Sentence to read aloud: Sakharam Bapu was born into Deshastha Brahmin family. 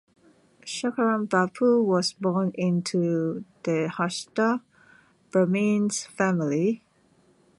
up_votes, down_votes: 1, 2